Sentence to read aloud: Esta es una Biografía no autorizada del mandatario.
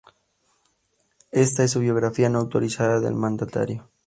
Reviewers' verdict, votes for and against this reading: rejected, 0, 2